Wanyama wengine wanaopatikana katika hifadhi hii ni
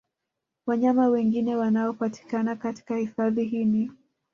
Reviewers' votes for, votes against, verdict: 2, 0, accepted